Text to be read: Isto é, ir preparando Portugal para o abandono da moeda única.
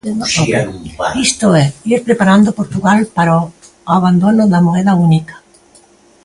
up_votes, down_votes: 0, 2